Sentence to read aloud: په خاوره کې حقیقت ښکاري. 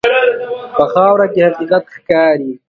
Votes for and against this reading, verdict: 3, 4, rejected